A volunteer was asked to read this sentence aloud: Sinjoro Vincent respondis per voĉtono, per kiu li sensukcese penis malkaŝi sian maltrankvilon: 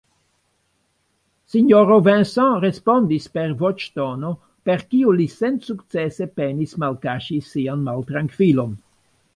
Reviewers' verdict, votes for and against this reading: accepted, 2, 1